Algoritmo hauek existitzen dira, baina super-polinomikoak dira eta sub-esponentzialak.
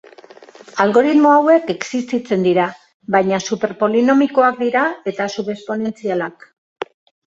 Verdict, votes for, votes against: accepted, 2, 0